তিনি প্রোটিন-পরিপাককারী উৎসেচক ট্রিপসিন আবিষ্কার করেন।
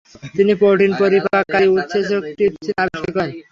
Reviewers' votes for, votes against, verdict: 3, 0, accepted